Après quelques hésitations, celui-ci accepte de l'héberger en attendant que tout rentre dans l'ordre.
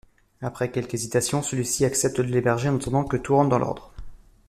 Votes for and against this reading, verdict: 2, 0, accepted